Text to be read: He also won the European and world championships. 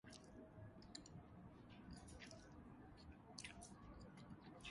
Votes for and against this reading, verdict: 0, 2, rejected